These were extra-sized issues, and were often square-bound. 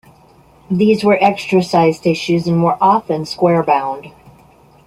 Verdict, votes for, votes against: accepted, 2, 0